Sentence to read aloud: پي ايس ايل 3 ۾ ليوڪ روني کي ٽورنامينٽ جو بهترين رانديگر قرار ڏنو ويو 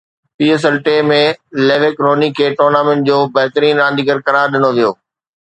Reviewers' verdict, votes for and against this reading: rejected, 0, 2